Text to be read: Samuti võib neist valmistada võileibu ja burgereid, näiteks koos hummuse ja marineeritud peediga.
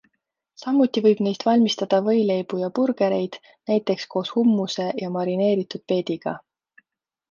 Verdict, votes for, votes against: accepted, 2, 0